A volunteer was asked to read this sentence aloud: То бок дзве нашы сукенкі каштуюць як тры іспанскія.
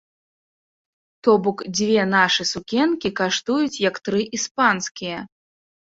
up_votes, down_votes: 2, 0